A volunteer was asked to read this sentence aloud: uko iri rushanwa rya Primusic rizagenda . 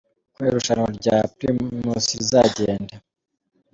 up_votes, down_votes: 0, 2